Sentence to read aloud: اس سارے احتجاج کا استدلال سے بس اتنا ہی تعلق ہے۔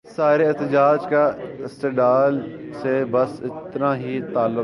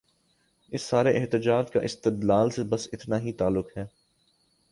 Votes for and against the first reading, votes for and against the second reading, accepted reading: 0, 2, 2, 0, second